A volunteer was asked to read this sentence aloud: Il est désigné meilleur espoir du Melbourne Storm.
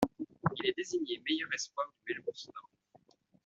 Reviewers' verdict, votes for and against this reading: rejected, 1, 2